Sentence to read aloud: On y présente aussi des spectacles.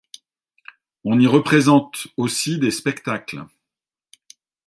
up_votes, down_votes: 1, 2